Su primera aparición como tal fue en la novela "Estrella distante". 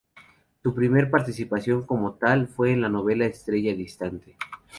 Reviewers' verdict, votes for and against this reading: rejected, 0, 2